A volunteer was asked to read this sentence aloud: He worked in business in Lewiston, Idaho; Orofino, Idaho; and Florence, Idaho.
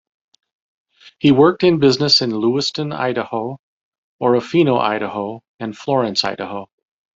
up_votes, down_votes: 2, 0